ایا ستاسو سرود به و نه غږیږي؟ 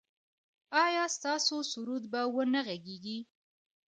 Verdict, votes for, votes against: accepted, 2, 0